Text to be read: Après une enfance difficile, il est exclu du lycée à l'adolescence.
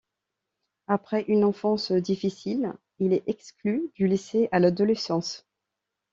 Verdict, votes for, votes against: accepted, 2, 0